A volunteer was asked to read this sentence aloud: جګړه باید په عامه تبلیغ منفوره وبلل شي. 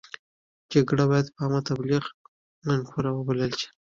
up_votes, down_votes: 1, 2